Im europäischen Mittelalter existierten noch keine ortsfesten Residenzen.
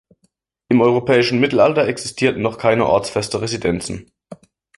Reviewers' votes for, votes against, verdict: 0, 2, rejected